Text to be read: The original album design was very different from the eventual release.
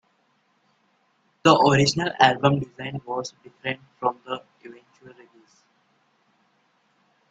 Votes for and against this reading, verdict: 0, 2, rejected